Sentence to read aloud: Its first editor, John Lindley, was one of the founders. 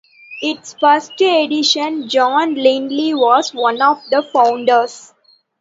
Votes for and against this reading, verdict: 0, 2, rejected